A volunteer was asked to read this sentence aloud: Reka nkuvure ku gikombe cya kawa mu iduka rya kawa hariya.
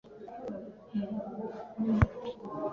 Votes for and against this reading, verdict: 0, 2, rejected